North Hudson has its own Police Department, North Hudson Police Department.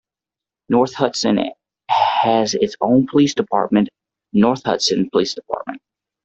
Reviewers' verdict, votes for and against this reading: accepted, 2, 0